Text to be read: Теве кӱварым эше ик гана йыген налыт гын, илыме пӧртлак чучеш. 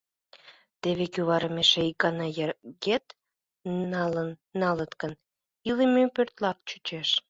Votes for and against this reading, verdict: 0, 2, rejected